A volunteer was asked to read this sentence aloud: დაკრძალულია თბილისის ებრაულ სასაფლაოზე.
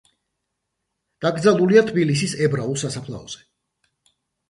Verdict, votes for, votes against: accepted, 2, 0